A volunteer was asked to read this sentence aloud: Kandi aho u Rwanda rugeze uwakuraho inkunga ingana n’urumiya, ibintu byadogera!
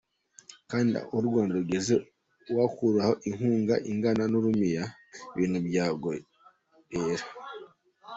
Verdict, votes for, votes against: rejected, 0, 2